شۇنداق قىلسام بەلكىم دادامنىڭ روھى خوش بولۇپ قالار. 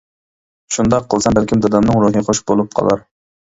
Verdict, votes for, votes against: rejected, 0, 2